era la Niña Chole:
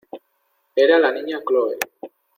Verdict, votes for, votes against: rejected, 1, 2